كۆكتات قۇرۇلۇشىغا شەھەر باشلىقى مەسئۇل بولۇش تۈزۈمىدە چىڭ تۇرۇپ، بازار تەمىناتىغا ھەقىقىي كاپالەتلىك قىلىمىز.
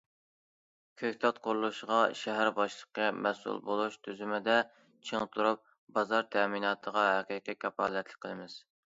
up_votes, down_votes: 2, 0